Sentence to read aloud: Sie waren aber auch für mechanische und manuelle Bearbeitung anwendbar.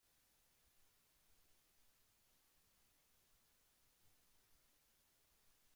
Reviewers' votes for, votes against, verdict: 0, 2, rejected